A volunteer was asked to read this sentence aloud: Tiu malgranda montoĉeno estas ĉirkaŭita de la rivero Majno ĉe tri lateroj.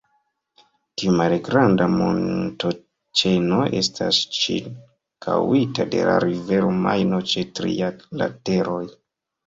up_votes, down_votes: 2, 0